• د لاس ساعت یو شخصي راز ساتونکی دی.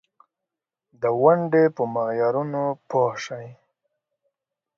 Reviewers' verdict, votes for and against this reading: rejected, 0, 2